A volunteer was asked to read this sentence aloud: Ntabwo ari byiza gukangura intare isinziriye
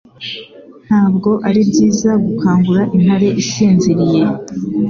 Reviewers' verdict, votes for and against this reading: accepted, 2, 0